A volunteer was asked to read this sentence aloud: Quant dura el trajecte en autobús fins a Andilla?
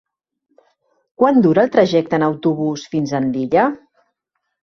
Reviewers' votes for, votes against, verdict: 4, 0, accepted